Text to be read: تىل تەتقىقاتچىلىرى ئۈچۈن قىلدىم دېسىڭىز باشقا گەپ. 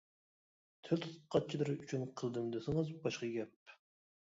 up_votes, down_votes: 0, 2